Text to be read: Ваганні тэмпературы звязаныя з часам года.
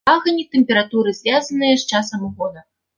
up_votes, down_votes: 0, 3